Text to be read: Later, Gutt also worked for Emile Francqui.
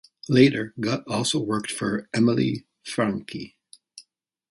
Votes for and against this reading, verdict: 2, 0, accepted